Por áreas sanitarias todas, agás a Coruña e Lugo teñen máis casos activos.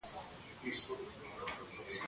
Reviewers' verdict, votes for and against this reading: rejected, 0, 2